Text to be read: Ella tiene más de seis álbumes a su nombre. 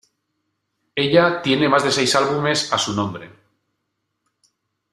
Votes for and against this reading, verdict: 2, 0, accepted